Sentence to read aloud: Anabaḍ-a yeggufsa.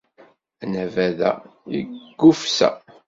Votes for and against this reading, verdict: 3, 0, accepted